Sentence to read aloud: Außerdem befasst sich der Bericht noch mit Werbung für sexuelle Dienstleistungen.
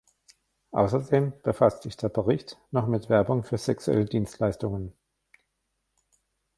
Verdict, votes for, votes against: rejected, 1, 2